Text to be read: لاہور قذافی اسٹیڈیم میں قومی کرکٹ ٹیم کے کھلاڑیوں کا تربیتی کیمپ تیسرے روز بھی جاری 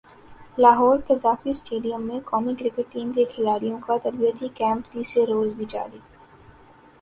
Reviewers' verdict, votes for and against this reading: accepted, 2, 0